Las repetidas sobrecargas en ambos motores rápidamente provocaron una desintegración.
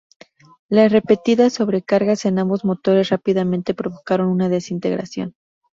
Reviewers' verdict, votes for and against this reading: rejected, 0, 2